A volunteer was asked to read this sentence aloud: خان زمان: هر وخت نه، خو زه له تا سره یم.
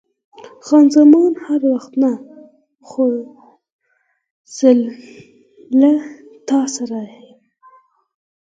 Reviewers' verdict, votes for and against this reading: rejected, 2, 4